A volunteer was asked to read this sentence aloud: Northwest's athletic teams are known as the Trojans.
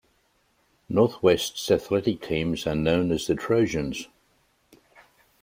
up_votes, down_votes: 1, 2